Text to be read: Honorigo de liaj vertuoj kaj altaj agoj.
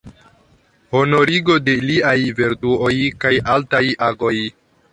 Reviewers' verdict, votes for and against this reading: rejected, 1, 2